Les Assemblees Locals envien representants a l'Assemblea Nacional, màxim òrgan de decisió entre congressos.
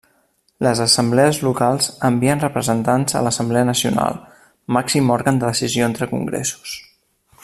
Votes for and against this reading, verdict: 1, 2, rejected